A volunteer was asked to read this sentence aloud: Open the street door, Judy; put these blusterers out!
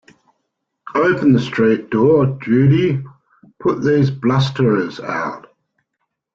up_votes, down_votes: 2, 0